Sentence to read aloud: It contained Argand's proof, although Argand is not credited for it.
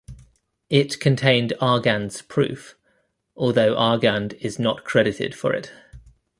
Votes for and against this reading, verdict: 2, 0, accepted